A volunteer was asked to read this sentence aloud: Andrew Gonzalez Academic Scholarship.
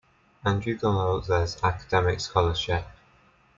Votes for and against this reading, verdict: 0, 2, rejected